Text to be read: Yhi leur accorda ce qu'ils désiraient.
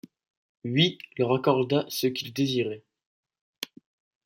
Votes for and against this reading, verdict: 2, 1, accepted